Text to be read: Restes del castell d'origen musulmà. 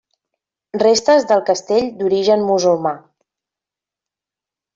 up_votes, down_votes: 1, 2